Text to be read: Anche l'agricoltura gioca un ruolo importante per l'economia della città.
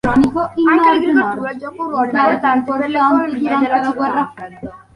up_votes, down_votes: 0, 2